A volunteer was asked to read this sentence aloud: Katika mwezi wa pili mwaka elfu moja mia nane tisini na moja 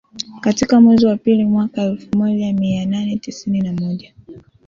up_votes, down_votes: 2, 1